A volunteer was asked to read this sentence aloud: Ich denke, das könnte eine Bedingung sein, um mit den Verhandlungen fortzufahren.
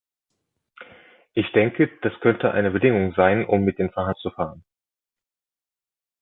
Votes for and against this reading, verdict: 1, 3, rejected